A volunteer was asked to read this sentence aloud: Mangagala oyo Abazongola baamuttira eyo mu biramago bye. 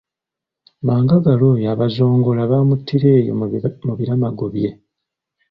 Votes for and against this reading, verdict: 2, 0, accepted